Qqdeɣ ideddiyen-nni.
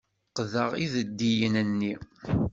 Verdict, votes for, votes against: accepted, 2, 0